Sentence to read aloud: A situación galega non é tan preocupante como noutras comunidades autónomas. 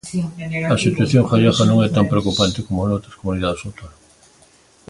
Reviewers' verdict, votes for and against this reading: rejected, 1, 2